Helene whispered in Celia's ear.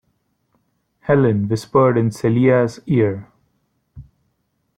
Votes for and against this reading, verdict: 2, 1, accepted